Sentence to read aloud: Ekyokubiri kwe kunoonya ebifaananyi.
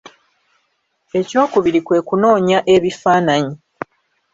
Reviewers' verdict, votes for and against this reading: accepted, 2, 1